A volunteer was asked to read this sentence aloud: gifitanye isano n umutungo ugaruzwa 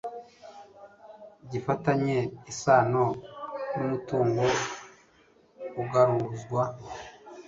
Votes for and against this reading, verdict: 1, 2, rejected